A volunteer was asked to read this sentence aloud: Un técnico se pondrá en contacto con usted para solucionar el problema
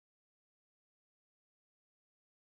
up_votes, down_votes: 0, 2